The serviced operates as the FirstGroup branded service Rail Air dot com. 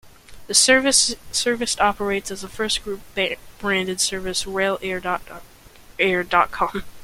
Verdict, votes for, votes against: rejected, 0, 2